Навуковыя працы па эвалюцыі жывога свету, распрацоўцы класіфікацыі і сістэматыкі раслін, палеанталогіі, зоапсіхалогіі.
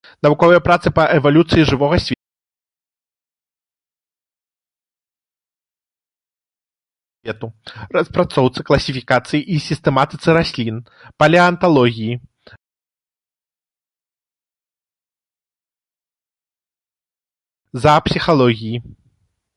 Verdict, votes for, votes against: rejected, 0, 2